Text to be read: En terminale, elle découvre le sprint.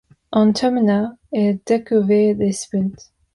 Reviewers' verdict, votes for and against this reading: rejected, 0, 2